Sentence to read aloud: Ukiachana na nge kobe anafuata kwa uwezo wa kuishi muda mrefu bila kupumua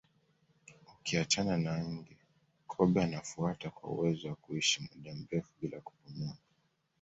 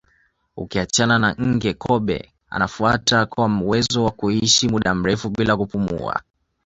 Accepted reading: second